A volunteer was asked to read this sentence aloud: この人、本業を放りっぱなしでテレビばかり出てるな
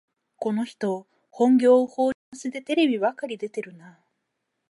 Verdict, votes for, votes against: rejected, 2, 4